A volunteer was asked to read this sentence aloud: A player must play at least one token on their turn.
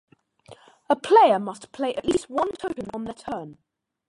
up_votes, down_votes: 0, 2